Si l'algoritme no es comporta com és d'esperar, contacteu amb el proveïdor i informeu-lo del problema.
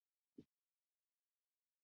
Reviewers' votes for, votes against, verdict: 0, 2, rejected